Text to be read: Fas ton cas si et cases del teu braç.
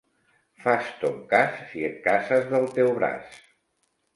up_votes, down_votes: 1, 2